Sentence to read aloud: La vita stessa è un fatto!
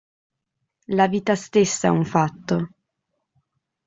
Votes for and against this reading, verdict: 2, 0, accepted